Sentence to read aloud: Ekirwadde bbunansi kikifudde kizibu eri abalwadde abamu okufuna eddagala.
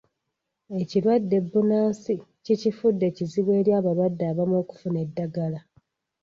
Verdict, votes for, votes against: rejected, 1, 2